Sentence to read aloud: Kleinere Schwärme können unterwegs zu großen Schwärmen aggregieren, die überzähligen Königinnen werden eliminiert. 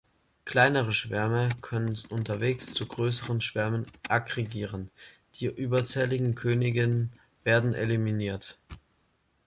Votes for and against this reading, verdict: 2, 0, accepted